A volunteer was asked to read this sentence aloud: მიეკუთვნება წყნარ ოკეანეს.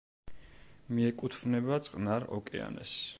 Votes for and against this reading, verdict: 2, 0, accepted